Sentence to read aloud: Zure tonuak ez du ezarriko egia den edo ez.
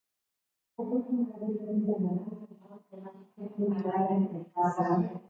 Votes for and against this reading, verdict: 0, 2, rejected